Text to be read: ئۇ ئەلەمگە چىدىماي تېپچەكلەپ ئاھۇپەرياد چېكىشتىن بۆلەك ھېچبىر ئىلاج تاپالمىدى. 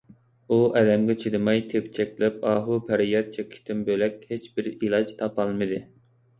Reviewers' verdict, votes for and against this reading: accepted, 2, 0